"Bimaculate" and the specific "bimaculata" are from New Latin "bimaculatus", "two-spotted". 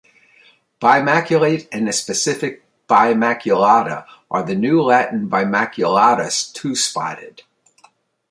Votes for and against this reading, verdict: 1, 2, rejected